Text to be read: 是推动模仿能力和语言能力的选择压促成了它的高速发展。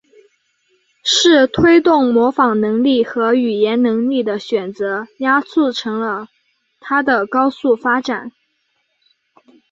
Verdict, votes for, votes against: accepted, 4, 1